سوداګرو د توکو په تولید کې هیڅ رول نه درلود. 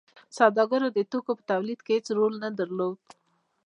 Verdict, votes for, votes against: accepted, 2, 0